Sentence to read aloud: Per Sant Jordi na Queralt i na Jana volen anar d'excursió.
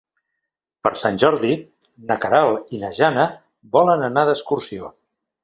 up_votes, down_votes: 3, 0